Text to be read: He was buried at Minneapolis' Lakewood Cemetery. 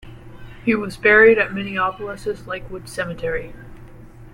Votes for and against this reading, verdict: 1, 2, rejected